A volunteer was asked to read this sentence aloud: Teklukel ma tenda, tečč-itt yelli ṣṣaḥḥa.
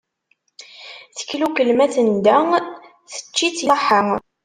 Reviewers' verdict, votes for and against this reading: rejected, 1, 2